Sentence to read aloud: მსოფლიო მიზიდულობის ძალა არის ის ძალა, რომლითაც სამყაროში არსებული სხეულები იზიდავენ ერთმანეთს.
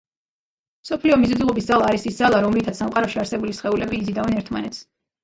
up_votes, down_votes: 2, 0